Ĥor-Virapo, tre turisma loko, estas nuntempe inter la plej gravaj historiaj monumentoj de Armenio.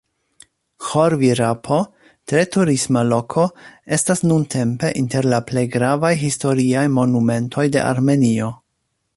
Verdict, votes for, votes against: accepted, 2, 0